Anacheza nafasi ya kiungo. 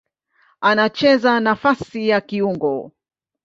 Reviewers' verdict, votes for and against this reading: accepted, 2, 0